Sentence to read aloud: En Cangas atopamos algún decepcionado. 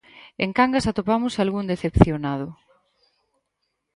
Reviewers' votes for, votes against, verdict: 4, 0, accepted